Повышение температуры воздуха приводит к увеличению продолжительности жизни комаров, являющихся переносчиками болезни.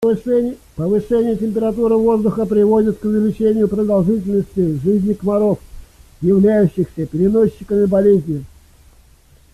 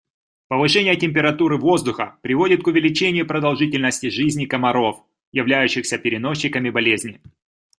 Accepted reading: second